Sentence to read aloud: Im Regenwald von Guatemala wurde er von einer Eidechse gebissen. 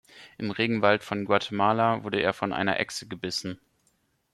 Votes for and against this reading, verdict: 1, 2, rejected